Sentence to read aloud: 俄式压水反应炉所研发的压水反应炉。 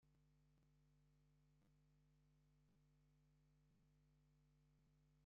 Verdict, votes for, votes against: rejected, 0, 2